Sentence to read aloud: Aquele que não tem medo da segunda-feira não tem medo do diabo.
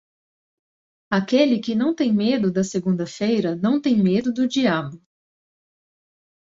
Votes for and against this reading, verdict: 2, 0, accepted